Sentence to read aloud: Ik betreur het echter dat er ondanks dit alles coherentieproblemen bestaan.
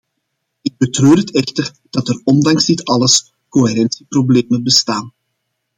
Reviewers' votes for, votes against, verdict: 2, 0, accepted